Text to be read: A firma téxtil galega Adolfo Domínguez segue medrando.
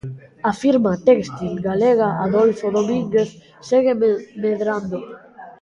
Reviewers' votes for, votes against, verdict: 0, 2, rejected